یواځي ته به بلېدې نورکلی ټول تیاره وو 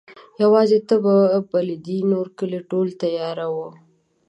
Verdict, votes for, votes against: accepted, 2, 0